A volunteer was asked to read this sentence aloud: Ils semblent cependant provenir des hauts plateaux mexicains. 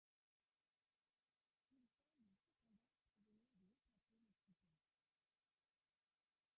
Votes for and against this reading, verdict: 0, 2, rejected